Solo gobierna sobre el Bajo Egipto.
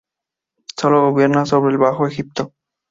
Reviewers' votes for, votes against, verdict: 2, 0, accepted